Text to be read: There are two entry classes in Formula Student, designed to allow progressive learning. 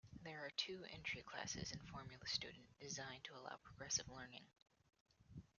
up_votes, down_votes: 2, 0